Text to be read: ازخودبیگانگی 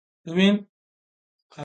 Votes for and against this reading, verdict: 0, 2, rejected